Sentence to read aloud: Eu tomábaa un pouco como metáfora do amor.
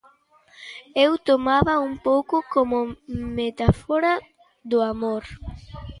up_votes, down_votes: 0, 2